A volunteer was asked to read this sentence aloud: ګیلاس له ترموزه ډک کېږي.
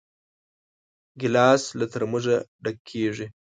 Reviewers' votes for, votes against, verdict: 2, 0, accepted